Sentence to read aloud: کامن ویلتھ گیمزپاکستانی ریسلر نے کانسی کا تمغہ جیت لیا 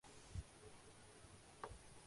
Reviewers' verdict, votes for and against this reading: rejected, 0, 2